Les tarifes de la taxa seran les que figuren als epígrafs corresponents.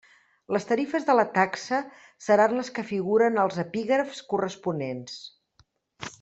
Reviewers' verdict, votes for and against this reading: accepted, 3, 0